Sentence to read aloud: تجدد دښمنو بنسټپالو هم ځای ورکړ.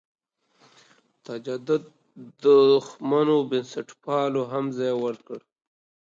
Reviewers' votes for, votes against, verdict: 2, 0, accepted